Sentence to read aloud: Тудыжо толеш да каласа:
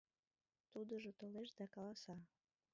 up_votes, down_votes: 1, 2